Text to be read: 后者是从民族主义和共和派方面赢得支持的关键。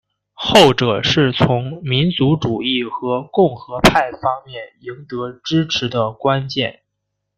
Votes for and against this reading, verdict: 2, 1, accepted